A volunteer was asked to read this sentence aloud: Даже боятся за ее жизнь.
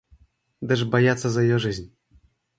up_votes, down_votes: 2, 0